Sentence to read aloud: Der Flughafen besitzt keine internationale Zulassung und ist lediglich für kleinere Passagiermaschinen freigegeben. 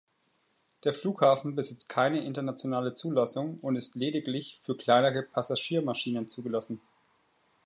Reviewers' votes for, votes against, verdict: 0, 2, rejected